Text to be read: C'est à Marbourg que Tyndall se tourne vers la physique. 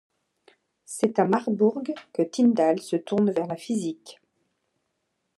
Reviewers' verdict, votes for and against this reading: accepted, 2, 0